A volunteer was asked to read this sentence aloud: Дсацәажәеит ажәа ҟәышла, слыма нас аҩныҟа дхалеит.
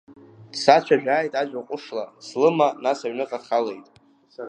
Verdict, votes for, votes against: rejected, 0, 2